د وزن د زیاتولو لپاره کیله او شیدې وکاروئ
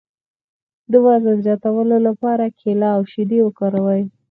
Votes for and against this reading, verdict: 2, 4, rejected